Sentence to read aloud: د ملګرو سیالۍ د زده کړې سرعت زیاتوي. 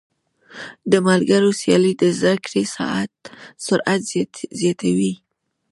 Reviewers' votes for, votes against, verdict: 1, 2, rejected